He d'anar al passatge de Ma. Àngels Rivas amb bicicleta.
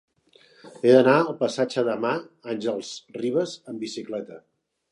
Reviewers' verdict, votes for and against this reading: rejected, 1, 3